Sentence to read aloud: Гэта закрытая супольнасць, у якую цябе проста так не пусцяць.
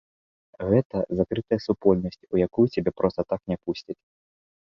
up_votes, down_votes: 2, 0